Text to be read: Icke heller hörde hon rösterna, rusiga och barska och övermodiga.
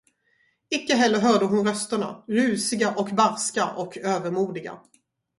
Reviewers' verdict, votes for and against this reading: accepted, 4, 0